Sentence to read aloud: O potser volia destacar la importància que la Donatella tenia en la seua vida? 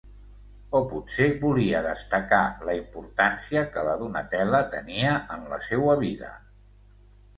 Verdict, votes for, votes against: rejected, 0, 2